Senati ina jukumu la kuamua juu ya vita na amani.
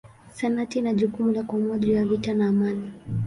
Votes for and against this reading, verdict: 2, 0, accepted